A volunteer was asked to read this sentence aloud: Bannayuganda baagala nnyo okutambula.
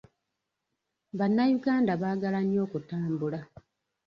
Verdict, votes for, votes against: accepted, 2, 1